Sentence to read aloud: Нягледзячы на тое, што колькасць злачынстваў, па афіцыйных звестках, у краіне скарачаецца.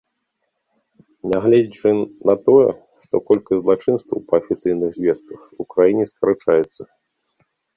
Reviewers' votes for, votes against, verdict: 0, 2, rejected